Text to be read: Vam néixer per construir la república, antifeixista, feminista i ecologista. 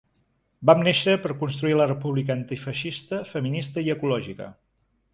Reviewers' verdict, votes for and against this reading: rejected, 3, 4